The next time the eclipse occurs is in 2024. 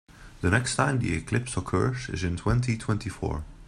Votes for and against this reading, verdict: 0, 2, rejected